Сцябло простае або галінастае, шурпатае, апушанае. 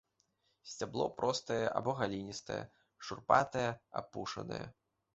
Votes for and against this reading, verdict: 1, 2, rejected